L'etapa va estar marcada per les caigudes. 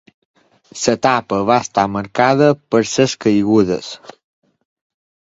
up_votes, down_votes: 1, 2